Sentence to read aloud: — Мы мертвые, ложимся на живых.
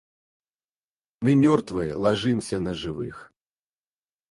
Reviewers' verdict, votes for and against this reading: rejected, 2, 4